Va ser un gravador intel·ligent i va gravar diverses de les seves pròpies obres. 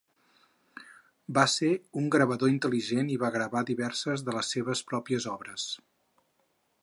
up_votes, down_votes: 6, 0